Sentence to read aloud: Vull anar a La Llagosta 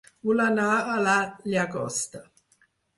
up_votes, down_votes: 2, 4